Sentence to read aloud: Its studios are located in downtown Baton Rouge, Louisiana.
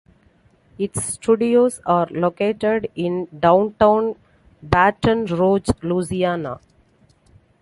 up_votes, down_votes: 2, 0